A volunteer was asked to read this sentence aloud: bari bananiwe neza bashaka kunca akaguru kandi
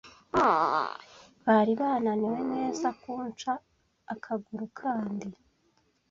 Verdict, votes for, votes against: rejected, 1, 2